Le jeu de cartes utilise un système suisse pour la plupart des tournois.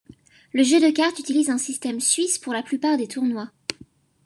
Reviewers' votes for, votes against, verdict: 2, 0, accepted